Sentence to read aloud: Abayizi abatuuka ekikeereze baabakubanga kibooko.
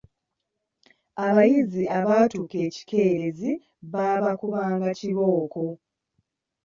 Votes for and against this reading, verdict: 2, 1, accepted